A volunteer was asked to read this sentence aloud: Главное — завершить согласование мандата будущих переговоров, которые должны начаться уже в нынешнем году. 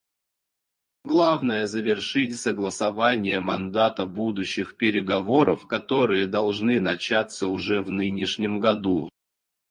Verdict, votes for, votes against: accepted, 4, 0